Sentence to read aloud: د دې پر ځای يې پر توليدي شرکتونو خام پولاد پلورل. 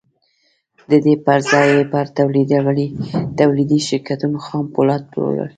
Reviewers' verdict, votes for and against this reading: rejected, 1, 2